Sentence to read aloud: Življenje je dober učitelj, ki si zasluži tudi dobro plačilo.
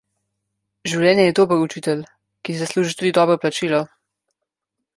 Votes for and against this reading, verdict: 0, 2, rejected